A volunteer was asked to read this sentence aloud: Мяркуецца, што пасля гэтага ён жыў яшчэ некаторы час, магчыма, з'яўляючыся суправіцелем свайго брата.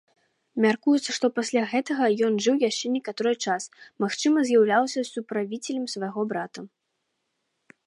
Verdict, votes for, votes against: rejected, 1, 2